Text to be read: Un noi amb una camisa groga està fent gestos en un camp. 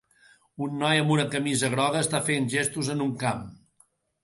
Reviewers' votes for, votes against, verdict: 2, 0, accepted